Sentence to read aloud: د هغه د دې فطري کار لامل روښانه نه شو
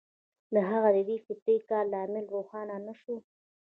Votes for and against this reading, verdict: 1, 2, rejected